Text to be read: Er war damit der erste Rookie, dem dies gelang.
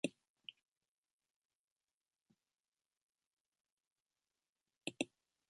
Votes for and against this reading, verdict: 0, 2, rejected